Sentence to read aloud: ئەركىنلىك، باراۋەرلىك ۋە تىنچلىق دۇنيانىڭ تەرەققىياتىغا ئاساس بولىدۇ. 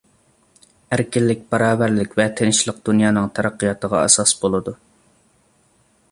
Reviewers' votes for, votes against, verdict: 2, 0, accepted